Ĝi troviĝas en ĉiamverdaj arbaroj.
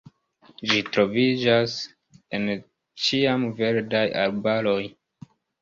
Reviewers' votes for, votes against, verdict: 3, 1, accepted